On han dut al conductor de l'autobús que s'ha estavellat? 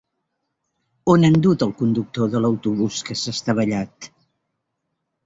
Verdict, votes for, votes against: accepted, 2, 0